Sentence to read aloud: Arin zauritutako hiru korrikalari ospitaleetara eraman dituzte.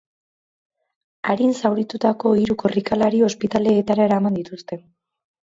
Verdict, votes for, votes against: accepted, 2, 0